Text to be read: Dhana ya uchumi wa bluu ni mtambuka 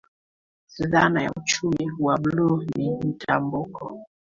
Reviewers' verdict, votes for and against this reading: rejected, 0, 2